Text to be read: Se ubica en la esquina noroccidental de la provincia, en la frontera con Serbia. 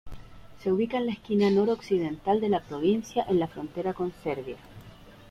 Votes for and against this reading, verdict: 2, 1, accepted